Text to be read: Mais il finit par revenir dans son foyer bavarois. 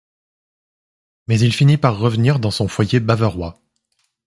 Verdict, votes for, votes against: accepted, 2, 0